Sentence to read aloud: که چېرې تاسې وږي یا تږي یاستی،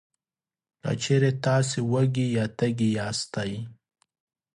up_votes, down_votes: 3, 0